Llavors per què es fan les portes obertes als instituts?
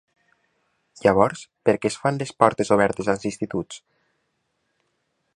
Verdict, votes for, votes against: accepted, 3, 0